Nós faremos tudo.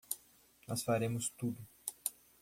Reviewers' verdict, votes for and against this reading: accepted, 2, 0